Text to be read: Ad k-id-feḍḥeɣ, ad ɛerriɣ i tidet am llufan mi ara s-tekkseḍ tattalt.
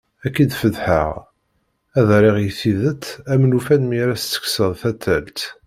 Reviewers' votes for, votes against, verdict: 0, 2, rejected